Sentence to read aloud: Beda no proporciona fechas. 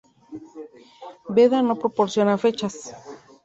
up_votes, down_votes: 2, 0